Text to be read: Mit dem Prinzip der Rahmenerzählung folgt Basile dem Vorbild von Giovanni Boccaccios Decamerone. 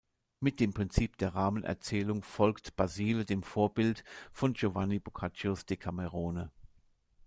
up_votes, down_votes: 2, 0